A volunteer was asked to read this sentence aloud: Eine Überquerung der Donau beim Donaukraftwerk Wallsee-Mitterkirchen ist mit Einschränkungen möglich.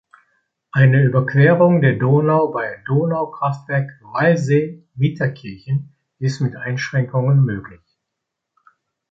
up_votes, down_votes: 1, 2